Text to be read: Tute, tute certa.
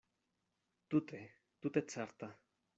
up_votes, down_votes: 2, 0